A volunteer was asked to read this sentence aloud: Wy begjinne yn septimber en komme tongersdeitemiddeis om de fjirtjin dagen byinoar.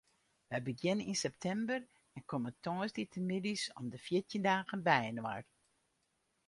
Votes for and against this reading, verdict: 0, 2, rejected